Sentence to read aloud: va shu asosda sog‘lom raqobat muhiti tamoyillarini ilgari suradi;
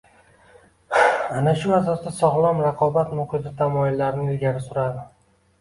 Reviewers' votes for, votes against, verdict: 0, 2, rejected